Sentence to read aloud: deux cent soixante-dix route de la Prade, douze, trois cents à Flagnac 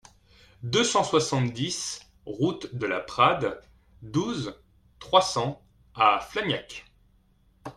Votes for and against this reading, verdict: 2, 0, accepted